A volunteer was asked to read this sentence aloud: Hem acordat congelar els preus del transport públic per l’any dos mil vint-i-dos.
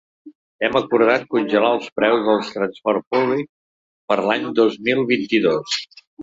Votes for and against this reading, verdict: 1, 3, rejected